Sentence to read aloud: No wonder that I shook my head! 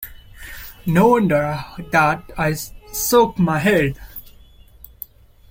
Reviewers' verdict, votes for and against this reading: rejected, 0, 2